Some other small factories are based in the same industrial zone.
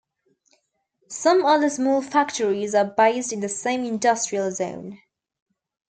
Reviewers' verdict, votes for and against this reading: accepted, 2, 0